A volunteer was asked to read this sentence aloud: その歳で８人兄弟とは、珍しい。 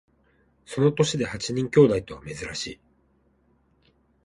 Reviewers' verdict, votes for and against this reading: rejected, 0, 2